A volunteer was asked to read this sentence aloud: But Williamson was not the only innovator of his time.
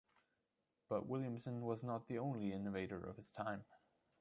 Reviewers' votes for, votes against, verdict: 0, 2, rejected